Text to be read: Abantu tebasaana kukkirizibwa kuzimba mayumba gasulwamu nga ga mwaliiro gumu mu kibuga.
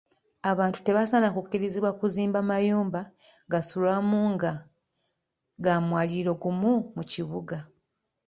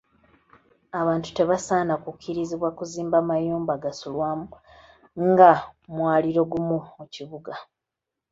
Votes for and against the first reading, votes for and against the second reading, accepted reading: 1, 2, 2, 0, second